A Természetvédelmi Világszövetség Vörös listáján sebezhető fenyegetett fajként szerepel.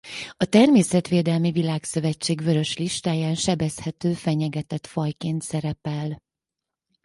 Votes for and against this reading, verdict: 4, 0, accepted